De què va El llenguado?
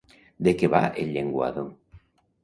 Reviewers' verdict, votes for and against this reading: accepted, 2, 0